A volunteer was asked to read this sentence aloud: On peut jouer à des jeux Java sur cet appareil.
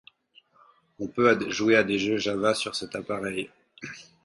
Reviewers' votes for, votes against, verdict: 2, 4, rejected